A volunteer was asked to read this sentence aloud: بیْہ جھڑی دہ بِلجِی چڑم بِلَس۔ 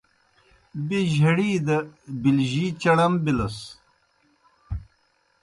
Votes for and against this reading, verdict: 2, 0, accepted